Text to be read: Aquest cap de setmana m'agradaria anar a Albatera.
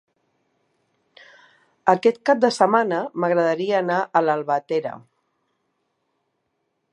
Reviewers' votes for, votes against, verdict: 1, 2, rejected